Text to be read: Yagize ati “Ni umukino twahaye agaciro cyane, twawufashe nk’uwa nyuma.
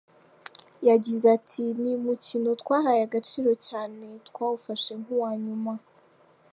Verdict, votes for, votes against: accepted, 2, 0